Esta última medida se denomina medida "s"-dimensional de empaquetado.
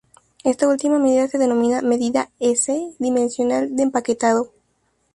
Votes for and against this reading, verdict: 4, 0, accepted